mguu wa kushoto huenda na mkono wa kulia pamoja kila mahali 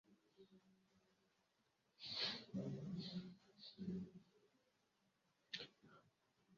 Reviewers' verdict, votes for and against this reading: rejected, 0, 2